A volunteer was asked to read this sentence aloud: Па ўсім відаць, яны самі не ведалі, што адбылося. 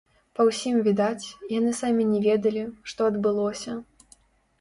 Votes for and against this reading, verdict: 2, 3, rejected